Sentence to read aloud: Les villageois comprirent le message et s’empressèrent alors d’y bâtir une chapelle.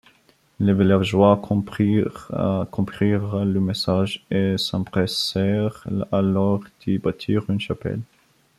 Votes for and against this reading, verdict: 0, 2, rejected